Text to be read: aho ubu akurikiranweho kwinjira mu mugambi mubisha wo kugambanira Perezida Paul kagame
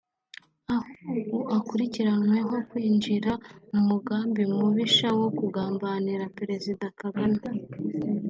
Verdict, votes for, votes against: rejected, 2, 3